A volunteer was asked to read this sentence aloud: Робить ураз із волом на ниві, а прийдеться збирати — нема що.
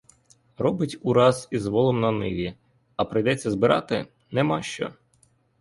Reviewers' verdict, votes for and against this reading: accepted, 4, 0